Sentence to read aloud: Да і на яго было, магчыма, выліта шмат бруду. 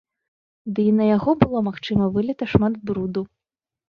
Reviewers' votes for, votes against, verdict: 0, 2, rejected